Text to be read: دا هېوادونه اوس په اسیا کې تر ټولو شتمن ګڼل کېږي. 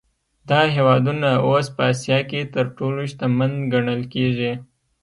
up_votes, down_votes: 2, 0